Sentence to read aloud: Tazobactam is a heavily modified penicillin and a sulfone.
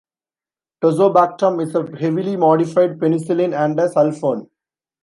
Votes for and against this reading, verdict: 2, 0, accepted